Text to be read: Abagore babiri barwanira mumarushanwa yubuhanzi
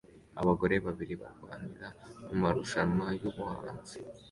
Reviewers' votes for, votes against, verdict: 2, 0, accepted